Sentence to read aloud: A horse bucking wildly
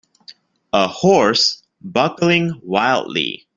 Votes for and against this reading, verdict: 2, 1, accepted